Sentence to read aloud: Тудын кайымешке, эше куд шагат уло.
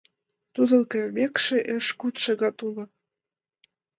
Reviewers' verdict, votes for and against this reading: rejected, 1, 2